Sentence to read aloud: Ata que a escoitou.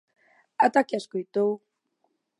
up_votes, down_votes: 2, 0